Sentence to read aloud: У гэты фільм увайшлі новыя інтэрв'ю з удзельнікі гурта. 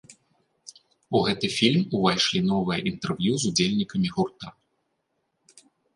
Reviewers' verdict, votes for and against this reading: accepted, 2, 1